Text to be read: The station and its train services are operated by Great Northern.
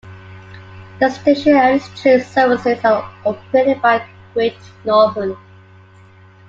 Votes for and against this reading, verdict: 2, 0, accepted